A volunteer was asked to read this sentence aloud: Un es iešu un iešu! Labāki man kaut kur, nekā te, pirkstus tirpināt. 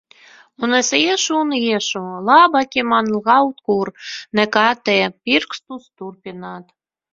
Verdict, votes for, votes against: rejected, 0, 2